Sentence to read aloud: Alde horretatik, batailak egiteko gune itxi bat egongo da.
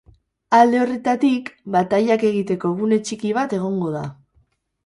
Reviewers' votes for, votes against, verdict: 0, 6, rejected